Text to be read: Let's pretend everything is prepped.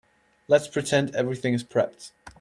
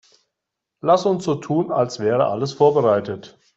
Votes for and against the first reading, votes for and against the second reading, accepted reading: 2, 0, 0, 2, first